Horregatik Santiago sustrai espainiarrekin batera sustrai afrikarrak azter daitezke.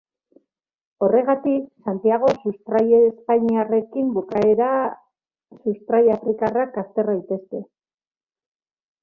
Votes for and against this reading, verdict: 0, 2, rejected